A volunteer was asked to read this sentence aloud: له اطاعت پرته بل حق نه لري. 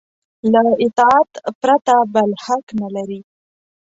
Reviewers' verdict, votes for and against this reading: accepted, 2, 0